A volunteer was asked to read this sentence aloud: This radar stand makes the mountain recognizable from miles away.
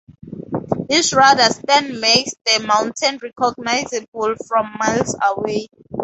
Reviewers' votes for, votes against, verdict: 2, 0, accepted